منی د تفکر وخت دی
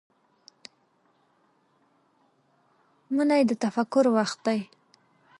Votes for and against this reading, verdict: 2, 0, accepted